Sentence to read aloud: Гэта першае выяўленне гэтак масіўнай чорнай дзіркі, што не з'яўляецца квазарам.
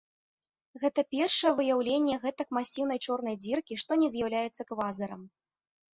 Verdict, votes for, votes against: accepted, 2, 1